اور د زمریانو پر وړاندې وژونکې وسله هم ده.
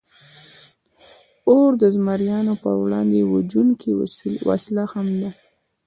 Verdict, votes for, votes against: rejected, 1, 2